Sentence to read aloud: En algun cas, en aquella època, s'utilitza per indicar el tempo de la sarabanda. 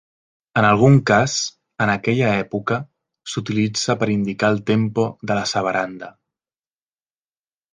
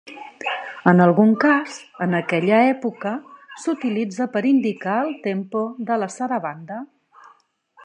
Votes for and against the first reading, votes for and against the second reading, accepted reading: 2, 3, 3, 0, second